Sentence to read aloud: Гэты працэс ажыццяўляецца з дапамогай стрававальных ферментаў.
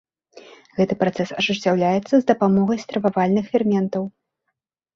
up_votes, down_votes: 2, 0